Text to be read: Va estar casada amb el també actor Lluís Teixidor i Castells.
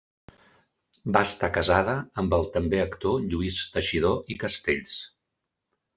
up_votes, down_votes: 3, 0